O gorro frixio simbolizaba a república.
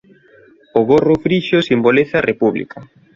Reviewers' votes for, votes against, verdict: 0, 2, rejected